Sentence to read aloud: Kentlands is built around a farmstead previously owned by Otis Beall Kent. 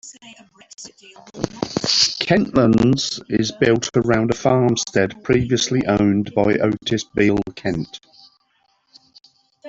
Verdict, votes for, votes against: rejected, 0, 2